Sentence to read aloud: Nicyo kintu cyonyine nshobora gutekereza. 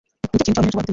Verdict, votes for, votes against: rejected, 0, 2